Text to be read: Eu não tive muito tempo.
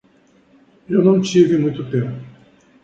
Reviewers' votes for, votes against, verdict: 6, 0, accepted